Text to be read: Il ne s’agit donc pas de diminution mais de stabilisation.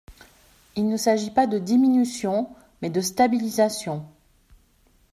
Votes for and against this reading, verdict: 1, 2, rejected